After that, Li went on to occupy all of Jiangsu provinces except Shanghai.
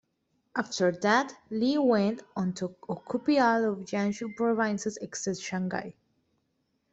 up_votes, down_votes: 1, 2